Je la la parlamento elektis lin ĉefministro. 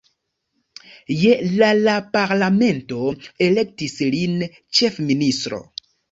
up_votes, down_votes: 2, 0